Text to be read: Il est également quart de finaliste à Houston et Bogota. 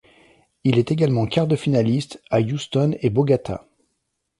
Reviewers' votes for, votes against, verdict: 1, 2, rejected